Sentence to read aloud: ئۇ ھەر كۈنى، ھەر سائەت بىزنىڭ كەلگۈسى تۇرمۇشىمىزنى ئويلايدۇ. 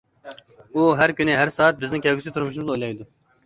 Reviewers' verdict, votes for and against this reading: rejected, 1, 2